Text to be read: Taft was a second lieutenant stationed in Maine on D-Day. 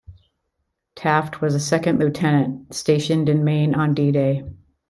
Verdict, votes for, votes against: accepted, 2, 0